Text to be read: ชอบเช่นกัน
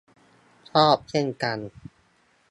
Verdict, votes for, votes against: accepted, 2, 0